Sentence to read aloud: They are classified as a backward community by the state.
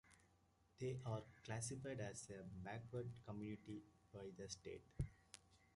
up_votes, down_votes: 2, 1